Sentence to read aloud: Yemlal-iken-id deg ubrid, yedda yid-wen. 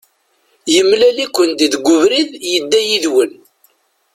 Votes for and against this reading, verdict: 1, 2, rejected